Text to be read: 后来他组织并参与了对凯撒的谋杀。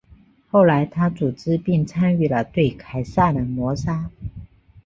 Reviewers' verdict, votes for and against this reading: accepted, 5, 1